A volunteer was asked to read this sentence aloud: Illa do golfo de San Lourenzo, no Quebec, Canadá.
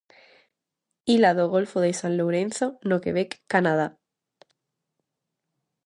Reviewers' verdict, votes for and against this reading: rejected, 0, 2